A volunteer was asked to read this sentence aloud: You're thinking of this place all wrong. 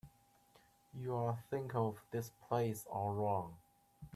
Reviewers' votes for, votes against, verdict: 1, 2, rejected